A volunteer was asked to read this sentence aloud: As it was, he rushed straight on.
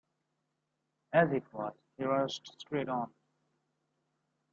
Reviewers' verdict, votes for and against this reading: accepted, 2, 0